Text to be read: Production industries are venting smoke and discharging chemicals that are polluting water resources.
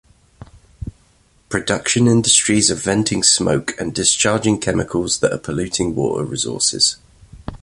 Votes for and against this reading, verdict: 2, 0, accepted